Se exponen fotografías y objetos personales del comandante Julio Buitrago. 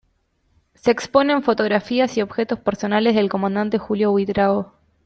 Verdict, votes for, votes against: accepted, 2, 0